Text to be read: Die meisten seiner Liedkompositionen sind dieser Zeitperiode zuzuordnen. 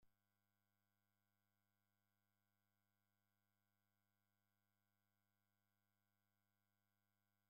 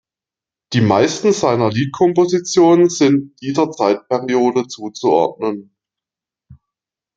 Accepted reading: second